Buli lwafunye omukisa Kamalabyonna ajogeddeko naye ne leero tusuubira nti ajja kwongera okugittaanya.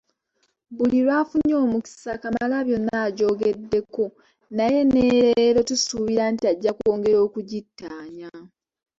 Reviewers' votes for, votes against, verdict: 2, 0, accepted